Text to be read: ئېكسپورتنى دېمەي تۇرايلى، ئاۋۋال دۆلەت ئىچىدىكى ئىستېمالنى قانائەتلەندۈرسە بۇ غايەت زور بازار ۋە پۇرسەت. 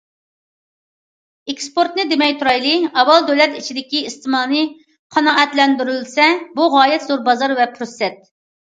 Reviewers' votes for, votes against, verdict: 0, 2, rejected